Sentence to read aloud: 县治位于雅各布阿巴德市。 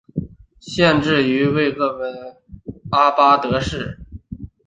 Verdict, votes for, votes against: rejected, 2, 3